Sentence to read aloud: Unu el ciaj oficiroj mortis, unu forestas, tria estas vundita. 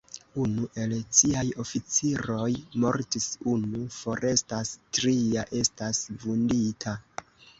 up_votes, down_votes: 0, 2